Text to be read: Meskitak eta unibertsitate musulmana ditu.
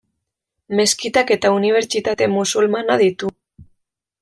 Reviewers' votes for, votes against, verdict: 2, 0, accepted